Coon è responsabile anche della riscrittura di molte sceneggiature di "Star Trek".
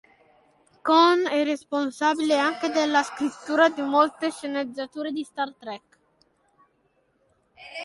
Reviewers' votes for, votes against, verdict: 1, 3, rejected